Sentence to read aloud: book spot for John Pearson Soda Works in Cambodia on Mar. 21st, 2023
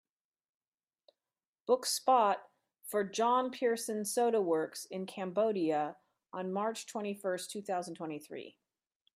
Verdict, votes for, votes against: rejected, 0, 2